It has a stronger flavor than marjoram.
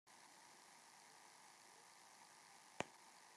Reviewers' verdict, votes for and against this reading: rejected, 0, 2